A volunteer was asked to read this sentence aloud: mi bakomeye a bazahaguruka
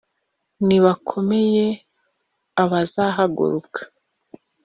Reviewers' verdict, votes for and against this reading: rejected, 1, 2